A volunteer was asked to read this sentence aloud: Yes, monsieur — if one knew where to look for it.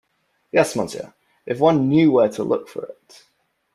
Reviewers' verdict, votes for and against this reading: accepted, 2, 0